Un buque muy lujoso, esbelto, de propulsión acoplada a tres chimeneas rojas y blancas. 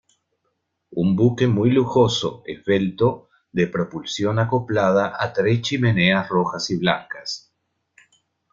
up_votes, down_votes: 2, 0